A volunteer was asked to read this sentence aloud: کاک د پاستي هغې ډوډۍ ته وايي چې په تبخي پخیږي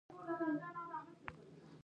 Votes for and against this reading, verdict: 1, 2, rejected